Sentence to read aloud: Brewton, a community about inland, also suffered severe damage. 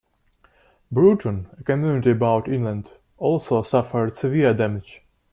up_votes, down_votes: 0, 2